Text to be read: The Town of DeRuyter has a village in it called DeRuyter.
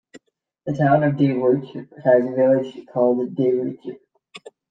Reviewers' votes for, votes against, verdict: 1, 2, rejected